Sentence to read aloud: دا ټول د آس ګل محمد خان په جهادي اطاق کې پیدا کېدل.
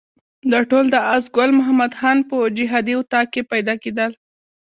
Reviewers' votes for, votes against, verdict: 1, 2, rejected